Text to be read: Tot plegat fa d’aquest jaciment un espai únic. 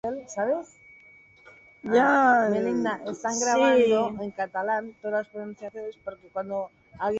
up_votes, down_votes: 0, 2